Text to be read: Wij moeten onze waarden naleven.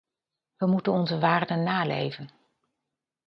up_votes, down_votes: 2, 0